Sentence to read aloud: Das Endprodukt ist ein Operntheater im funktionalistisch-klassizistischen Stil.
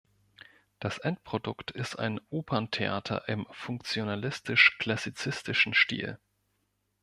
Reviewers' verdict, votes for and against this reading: accepted, 2, 0